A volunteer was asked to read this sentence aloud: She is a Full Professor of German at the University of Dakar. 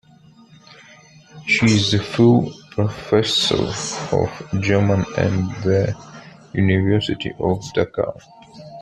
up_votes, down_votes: 0, 2